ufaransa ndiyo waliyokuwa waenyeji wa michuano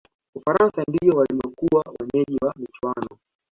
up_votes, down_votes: 1, 2